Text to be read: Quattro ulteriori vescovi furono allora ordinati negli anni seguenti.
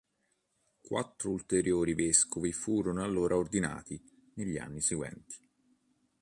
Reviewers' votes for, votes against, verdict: 2, 0, accepted